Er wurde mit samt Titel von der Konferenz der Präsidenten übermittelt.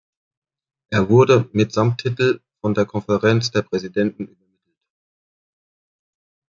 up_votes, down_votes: 0, 2